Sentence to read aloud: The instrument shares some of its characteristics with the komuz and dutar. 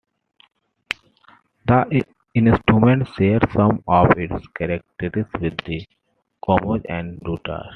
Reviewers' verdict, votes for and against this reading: accepted, 2, 1